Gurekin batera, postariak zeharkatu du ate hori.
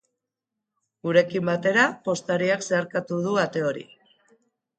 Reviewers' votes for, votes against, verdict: 0, 2, rejected